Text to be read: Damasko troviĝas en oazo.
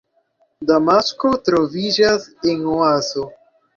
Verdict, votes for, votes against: accepted, 2, 0